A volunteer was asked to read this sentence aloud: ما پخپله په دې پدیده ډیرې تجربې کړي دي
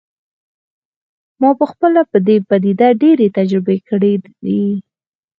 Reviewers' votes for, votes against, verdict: 2, 4, rejected